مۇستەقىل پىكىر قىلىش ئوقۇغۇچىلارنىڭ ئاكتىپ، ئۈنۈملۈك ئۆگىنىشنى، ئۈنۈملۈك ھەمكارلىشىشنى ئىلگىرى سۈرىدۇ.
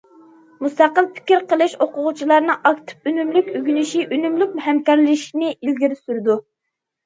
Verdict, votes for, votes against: rejected, 0, 2